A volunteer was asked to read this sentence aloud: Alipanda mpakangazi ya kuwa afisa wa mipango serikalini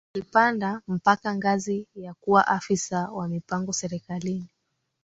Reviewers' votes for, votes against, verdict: 5, 0, accepted